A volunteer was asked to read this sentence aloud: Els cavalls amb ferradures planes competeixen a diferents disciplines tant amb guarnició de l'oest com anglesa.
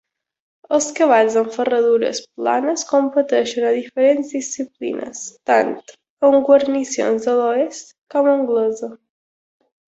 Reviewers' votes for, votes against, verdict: 1, 2, rejected